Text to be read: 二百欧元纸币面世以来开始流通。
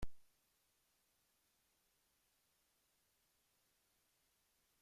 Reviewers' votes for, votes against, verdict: 0, 2, rejected